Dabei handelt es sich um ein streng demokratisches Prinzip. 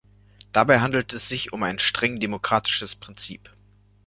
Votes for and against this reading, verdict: 2, 0, accepted